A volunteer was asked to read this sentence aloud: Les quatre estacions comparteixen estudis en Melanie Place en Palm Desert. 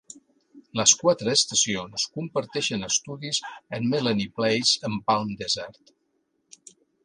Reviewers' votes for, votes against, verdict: 2, 0, accepted